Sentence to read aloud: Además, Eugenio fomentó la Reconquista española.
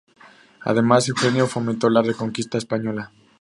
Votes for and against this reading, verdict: 0, 2, rejected